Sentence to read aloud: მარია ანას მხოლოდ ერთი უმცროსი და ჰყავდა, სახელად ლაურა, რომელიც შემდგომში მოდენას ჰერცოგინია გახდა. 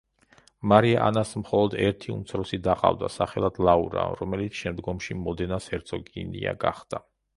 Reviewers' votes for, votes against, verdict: 0, 2, rejected